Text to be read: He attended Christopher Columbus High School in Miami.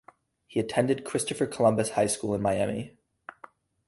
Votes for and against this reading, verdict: 0, 2, rejected